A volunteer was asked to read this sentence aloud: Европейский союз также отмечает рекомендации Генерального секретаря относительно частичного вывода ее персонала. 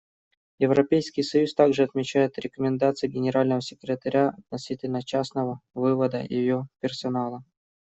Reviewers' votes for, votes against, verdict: 1, 2, rejected